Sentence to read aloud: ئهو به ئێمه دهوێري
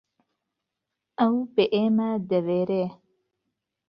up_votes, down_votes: 1, 2